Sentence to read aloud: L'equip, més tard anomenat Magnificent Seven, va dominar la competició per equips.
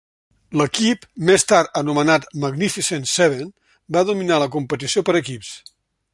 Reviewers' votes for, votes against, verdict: 3, 0, accepted